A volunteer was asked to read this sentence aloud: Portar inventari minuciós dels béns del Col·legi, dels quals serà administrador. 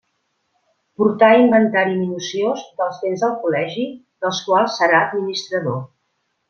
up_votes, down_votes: 2, 0